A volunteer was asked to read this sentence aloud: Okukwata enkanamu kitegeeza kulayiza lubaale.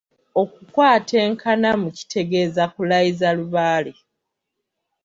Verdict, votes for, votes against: accepted, 2, 1